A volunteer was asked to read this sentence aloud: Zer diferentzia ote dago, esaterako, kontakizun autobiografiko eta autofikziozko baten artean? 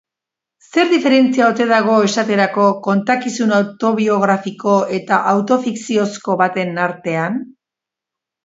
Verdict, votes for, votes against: accepted, 2, 0